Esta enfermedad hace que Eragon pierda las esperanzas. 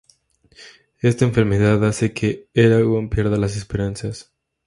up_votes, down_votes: 2, 0